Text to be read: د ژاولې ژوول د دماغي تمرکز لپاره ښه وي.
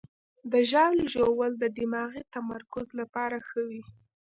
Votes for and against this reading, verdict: 0, 2, rejected